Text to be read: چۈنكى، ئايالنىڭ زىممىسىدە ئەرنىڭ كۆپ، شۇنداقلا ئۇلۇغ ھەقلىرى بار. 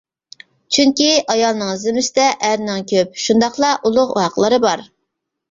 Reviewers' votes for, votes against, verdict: 1, 2, rejected